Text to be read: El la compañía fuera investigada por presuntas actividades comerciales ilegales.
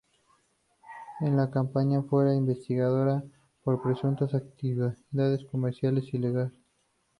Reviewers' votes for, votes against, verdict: 0, 2, rejected